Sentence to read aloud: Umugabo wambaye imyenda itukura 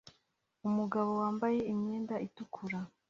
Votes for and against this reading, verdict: 2, 1, accepted